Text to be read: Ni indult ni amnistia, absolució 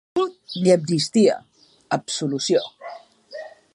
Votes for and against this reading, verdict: 0, 2, rejected